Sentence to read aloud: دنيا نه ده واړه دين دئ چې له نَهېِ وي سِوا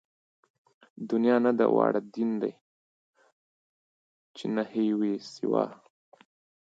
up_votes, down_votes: 1, 2